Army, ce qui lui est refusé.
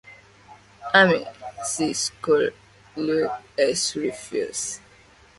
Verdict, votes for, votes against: rejected, 0, 2